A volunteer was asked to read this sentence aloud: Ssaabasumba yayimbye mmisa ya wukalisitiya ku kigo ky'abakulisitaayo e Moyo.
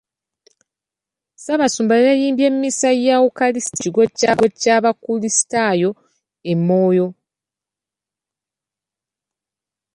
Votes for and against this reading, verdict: 0, 2, rejected